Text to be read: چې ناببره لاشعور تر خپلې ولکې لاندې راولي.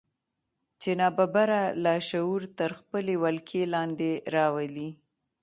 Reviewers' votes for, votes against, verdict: 2, 0, accepted